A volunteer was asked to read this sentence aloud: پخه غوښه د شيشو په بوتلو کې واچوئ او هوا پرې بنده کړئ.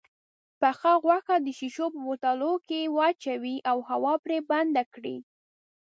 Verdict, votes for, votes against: rejected, 0, 2